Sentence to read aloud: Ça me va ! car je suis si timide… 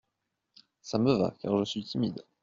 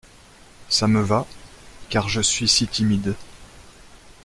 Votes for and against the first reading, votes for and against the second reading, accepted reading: 0, 2, 2, 0, second